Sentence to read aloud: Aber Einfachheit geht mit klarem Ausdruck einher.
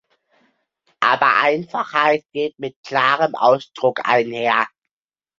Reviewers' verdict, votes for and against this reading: rejected, 1, 2